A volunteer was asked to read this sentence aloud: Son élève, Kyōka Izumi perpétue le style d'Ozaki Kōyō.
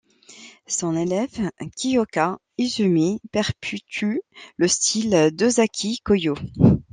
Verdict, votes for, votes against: rejected, 1, 2